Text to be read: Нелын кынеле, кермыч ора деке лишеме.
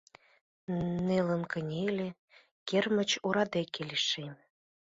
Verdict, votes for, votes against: rejected, 1, 2